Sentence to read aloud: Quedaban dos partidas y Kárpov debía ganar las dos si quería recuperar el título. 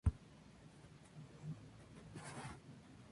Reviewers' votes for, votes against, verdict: 0, 4, rejected